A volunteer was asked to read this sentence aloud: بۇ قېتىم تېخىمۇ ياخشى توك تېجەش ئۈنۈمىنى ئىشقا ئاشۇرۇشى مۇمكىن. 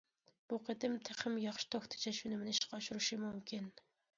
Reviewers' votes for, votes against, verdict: 2, 1, accepted